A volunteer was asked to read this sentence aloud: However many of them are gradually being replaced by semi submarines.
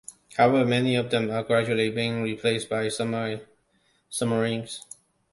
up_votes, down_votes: 1, 2